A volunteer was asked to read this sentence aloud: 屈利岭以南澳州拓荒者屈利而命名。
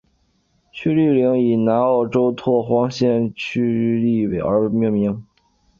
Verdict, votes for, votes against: rejected, 0, 2